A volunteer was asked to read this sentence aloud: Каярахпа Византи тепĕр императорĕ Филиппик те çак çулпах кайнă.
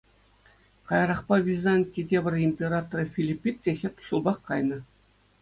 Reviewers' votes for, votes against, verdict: 2, 0, accepted